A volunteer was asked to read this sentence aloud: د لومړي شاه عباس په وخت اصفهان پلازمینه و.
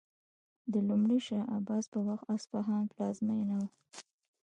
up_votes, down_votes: 2, 1